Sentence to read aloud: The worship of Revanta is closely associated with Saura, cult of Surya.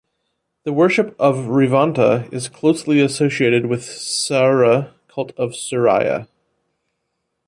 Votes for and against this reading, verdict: 1, 2, rejected